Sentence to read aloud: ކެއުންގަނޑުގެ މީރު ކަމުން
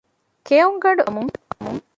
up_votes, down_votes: 0, 2